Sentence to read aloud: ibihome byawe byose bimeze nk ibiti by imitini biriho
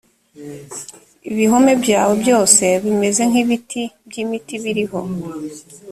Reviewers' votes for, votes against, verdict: 1, 2, rejected